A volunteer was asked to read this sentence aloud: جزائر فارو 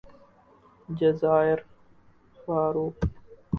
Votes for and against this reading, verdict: 0, 2, rejected